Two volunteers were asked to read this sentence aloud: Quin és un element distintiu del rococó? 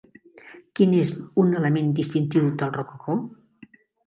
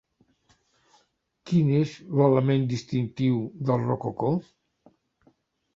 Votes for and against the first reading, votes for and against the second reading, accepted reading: 3, 1, 0, 2, first